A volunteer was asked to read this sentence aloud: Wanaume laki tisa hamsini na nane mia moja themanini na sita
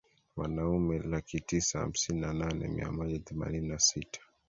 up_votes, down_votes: 2, 0